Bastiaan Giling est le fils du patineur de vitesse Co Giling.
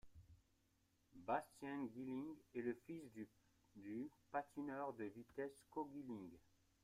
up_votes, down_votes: 1, 2